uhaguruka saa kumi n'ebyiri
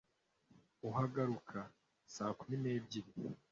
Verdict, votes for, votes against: rejected, 0, 2